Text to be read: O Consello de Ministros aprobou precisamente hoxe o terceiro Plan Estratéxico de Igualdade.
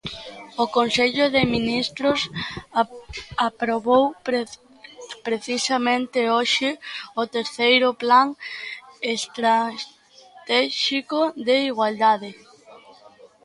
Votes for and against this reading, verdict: 0, 2, rejected